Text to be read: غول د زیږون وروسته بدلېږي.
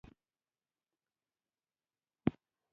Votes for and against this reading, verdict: 1, 2, rejected